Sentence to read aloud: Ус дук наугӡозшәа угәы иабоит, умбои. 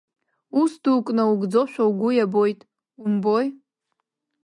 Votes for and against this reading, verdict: 2, 0, accepted